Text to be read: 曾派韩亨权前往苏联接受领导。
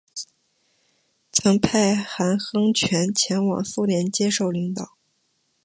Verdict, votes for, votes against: accepted, 3, 0